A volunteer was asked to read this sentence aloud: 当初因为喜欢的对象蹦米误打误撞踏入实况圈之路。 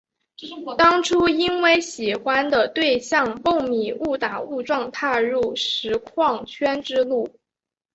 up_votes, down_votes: 6, 0